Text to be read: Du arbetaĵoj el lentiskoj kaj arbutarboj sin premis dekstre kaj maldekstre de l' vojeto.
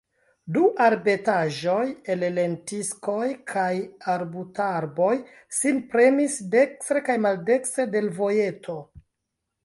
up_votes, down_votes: 2, 1